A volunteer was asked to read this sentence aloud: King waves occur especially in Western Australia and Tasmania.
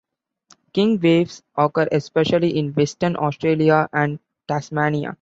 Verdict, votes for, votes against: rejected, 1, 2